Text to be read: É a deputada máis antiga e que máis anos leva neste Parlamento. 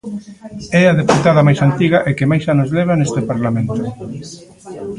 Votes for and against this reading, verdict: 1, 2, rejected